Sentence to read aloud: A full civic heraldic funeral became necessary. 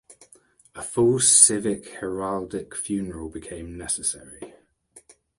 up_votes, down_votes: 2, 1